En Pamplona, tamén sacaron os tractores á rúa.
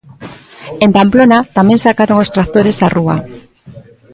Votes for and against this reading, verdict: 2, 1, accepted